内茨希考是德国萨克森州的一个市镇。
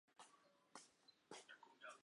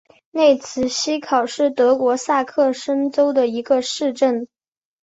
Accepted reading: second